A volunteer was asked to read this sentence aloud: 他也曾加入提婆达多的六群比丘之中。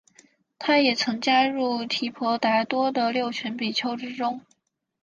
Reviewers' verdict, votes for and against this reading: accepted, 5, 0